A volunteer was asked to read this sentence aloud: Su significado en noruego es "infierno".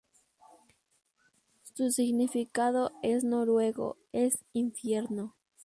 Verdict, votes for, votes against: accepted, 2, 0